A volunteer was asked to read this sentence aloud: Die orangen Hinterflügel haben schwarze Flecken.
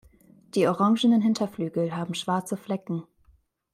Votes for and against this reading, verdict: 0, 2, rejected